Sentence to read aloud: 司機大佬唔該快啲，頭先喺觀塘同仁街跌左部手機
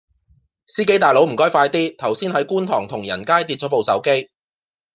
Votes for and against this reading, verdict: 2, 0, accepted